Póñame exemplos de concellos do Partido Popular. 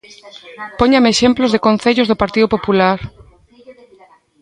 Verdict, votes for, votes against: rejected, 1, 2